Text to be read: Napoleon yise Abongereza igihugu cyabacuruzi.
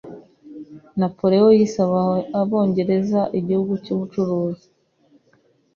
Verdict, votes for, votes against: accepted, 2, 0